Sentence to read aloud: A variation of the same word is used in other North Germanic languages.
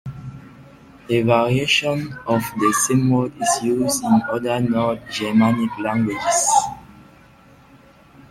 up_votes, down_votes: 0, 2